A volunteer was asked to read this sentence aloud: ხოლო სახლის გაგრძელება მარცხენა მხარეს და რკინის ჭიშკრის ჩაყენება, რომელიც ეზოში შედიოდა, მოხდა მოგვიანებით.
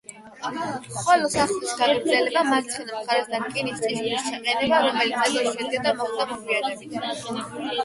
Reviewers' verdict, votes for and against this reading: rejected, 4, 8